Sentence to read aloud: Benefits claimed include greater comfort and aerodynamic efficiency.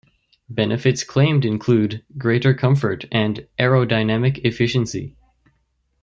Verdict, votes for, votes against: accepted, 2, 0